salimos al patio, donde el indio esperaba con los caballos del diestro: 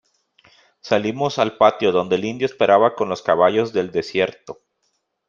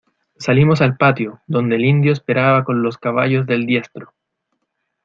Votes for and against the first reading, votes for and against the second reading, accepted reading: 0, 2, 2, 0, second